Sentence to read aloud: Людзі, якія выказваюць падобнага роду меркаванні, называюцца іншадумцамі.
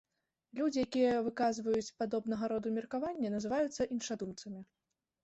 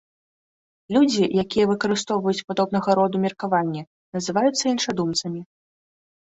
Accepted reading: first